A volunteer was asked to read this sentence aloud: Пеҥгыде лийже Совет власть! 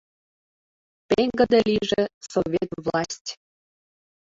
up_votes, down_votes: 0, 2